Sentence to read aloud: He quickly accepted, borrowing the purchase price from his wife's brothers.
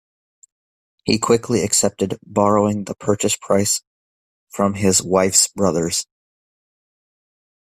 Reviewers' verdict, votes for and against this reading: accepted, 2, 1